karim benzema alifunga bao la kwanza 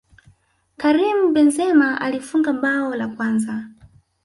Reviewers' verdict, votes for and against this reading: rejected, 0, 2